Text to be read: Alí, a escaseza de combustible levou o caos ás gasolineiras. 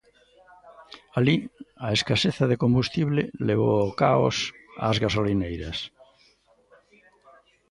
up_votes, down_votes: 2, 0